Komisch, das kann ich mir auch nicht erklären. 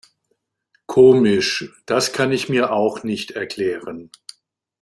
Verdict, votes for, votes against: rejected, 1, 2